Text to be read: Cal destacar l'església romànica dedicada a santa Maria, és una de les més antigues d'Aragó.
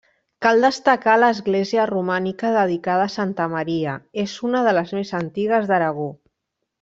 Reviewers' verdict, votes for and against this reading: rejected, 1, 2